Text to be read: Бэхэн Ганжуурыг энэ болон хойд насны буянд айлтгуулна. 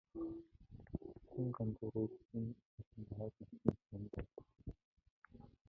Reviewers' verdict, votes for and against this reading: rejected, 1, 3